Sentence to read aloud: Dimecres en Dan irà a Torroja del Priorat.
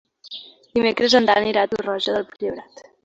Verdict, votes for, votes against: accepted, 2, 1